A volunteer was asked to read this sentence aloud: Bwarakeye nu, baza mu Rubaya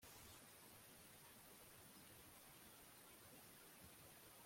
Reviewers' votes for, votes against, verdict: 0, 2, rejected